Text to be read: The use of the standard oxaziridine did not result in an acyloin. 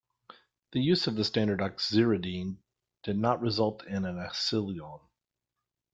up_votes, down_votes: 1, 2